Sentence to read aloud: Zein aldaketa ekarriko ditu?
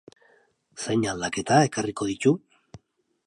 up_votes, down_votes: 2, 0